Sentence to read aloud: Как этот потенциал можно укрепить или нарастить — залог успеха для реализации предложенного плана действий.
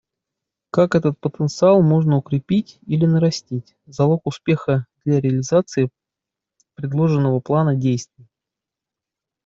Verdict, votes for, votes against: accepted, 2, 0